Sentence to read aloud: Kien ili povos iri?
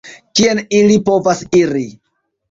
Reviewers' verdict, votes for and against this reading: accepted, 2, 1